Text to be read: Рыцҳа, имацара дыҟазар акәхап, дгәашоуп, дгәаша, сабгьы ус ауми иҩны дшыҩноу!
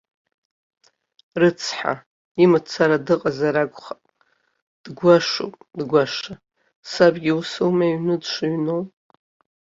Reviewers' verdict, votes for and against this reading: rejected, 1, 2